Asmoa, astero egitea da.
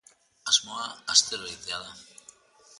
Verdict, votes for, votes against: accepted, 2, 0